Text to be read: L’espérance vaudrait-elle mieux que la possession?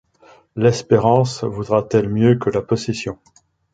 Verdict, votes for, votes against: accepted, 2, 1